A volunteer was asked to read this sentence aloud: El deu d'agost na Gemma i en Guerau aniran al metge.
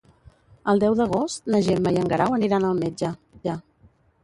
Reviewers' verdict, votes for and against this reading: rejected, 0, 2